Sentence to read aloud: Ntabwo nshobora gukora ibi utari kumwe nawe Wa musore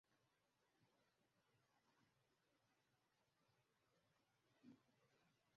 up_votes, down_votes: 0, 2